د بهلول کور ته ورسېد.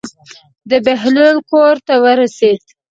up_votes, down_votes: 2, 0